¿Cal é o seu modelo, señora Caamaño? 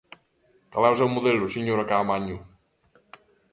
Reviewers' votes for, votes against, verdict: 2, 1, accepted